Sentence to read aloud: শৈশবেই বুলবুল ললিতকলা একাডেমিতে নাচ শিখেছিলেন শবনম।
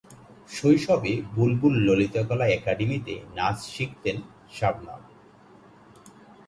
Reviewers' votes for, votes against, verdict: 0, 2, rejected